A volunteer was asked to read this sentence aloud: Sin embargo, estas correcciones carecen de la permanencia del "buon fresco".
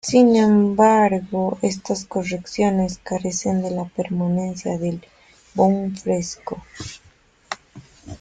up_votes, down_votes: 0, 2